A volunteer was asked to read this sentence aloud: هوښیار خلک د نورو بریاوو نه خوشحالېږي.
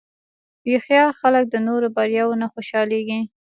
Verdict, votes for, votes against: accepted, 2, 0